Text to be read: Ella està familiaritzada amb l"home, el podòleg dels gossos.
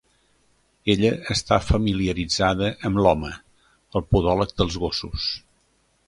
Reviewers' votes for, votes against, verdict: 2, 0, accepted